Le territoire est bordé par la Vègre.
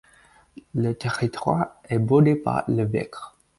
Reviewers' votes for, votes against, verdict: 2, 4, rejected